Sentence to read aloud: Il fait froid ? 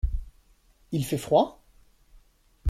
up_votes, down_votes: 2, 0